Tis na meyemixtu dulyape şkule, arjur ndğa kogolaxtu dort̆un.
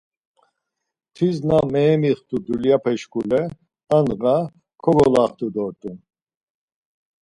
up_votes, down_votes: 0, 4